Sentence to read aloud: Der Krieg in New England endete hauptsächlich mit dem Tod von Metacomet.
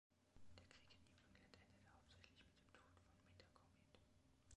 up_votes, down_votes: 1, 2